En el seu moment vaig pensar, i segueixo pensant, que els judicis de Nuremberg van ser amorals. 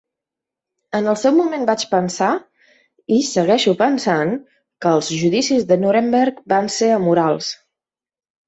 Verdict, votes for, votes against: accepted, 3, 0